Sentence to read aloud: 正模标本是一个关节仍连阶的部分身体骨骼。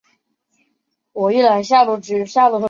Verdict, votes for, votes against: rejected, 0, 5